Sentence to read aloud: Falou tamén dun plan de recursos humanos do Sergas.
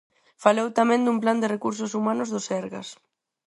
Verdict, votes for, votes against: accepted, 4, 0